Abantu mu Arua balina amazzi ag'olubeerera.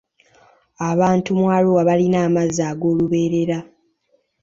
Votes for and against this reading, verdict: 2, 0, accepted